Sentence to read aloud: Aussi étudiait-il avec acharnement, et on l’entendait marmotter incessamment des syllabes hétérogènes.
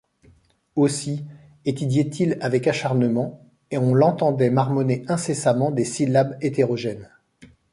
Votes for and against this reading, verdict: 0, 2, rejected